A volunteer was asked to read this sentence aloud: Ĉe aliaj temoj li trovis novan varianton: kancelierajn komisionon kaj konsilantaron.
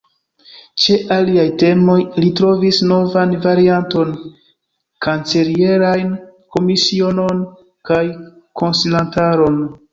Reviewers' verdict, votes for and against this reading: rejected, 0, 2